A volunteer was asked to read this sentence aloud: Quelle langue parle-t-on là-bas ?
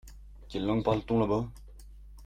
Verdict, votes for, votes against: accepted, 2, 0